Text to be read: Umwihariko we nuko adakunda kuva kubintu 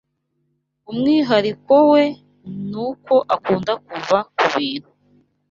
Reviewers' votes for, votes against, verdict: 1, 2, rejected